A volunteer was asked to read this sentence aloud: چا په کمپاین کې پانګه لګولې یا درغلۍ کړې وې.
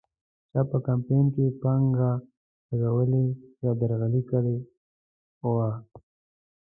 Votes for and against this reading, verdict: 0, 2, rejected